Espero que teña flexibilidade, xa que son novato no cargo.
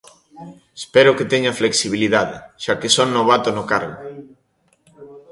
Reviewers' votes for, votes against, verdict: 1, 2, rejected